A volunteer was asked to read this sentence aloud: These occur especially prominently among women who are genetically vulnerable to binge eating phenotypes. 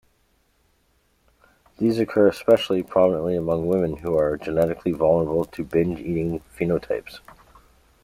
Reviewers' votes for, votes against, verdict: 2, 0, accepted